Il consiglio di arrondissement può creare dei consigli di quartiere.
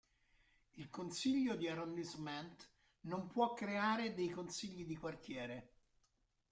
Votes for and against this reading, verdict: 0, 2, rejected